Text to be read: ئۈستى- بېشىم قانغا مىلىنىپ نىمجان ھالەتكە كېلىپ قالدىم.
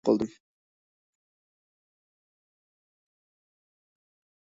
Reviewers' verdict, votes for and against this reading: rejected, 0, 2